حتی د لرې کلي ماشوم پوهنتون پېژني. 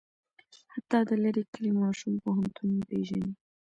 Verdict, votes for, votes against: accepted, 2, 0